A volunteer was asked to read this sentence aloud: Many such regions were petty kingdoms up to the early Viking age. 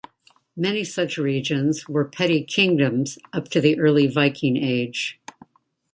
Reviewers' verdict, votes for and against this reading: accepted, 2, 0